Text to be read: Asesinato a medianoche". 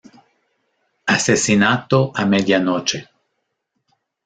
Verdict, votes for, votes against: accepted, 2, 0